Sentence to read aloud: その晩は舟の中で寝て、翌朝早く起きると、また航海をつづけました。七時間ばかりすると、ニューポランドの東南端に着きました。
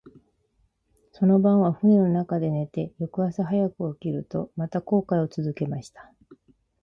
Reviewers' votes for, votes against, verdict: 0, 4, rejected